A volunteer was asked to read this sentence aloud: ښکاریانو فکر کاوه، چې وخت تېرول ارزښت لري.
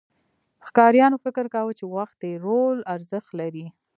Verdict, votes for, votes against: rejected, 0, 2